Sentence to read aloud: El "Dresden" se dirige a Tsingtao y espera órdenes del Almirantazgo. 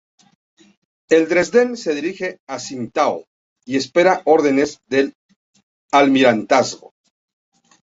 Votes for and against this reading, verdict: 2, 0, accepted